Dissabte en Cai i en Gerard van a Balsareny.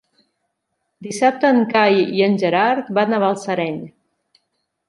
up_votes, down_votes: 2, 0